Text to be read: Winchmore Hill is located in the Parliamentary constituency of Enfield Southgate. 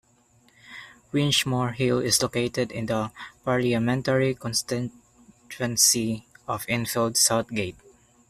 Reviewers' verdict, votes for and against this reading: rejected, 0, 2